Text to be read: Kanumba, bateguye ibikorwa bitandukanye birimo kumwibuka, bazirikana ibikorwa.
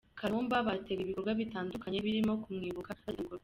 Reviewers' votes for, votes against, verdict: 0, 2, rejected